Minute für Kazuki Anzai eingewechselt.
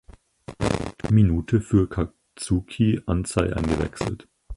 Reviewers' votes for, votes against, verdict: 0, 4, rejected